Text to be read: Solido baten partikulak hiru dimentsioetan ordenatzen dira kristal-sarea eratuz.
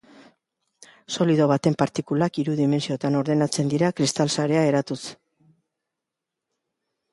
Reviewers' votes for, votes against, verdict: 2, 0, accepted